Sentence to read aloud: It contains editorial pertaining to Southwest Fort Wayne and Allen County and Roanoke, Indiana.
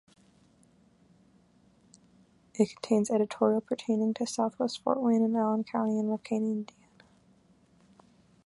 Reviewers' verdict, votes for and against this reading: accepted, 2, 0